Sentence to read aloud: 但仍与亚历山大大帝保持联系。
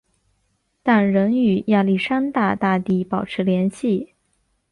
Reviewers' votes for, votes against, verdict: 2, 0, accepted